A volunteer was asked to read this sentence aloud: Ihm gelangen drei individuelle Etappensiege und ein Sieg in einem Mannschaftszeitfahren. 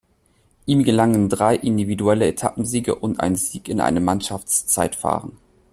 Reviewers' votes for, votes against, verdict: 2, 0, accepted